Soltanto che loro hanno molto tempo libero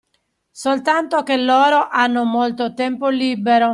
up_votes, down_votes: 2, 0